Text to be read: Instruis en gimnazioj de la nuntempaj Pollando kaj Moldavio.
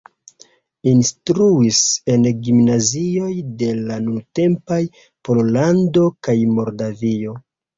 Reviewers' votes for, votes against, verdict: 0, 2, rejected